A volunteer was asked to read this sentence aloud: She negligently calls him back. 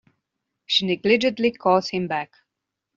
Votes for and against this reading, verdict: 2, 0, accepted